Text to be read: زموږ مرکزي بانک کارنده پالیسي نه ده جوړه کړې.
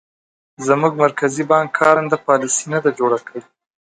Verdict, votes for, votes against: rejected, 1, 2